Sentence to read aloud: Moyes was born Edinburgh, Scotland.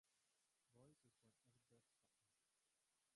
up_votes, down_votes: 0, 4